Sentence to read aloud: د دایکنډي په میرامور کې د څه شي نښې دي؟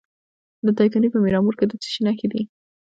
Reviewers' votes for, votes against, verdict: 2, 1, accepted